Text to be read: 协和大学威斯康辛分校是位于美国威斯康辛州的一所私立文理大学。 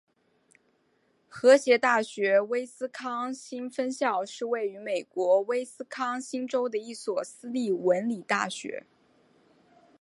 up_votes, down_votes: 0, 2